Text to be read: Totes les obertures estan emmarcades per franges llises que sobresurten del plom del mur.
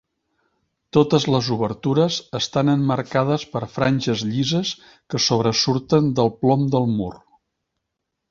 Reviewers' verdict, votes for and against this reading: accepted, 2, 0